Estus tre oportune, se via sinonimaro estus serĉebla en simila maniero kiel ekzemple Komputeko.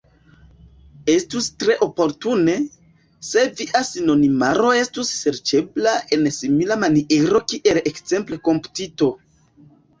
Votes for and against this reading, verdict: 1, 2, rejected